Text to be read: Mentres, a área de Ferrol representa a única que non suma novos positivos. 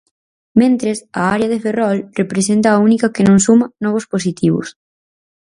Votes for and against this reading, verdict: 4, 0, accepted